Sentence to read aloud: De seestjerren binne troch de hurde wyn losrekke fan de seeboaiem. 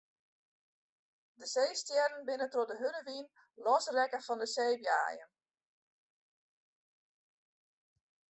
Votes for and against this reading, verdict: 1, 2, rejected